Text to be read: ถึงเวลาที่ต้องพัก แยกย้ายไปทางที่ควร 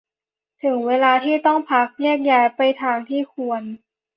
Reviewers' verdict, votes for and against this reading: accepted, 2, 0